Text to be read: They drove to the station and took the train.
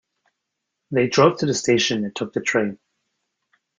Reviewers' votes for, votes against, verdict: 2, 0, accepted